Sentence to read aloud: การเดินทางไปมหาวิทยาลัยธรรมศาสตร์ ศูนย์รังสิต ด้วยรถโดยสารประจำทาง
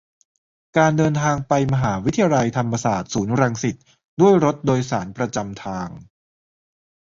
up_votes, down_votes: 3, 1